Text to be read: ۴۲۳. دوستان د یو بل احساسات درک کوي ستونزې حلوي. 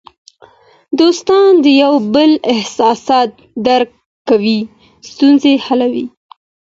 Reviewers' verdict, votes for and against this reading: rejected, 0, 2